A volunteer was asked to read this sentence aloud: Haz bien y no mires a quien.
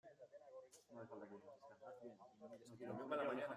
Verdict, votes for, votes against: rejected, 0, 2